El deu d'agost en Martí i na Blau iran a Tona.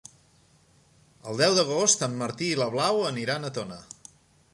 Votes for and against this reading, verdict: 4, 3, accepted